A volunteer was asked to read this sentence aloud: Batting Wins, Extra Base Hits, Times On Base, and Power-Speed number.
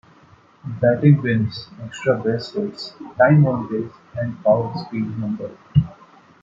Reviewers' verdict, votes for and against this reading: accepted, 2, 0